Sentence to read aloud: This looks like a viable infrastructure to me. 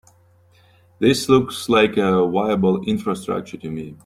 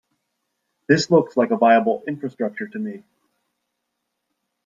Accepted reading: second